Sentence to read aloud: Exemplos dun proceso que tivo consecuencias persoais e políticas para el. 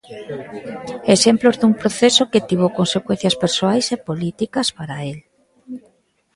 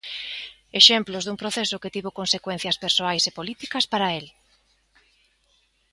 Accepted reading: second